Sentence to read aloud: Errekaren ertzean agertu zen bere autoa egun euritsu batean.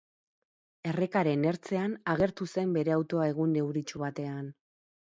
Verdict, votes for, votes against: accepted, 6, 0